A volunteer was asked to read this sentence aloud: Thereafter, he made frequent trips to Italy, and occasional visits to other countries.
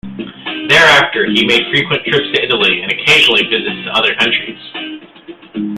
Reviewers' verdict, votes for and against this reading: rejected, 0, 2